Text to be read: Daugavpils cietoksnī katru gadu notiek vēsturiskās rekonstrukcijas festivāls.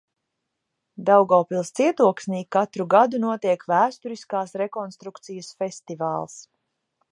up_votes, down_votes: 2, 0